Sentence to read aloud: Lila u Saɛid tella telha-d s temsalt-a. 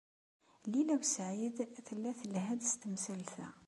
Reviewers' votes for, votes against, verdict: 2, 0, accepted